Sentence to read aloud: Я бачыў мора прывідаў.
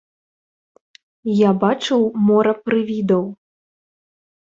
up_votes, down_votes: 1, 2